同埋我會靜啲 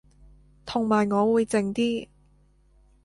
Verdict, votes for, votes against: accepted, 2, 0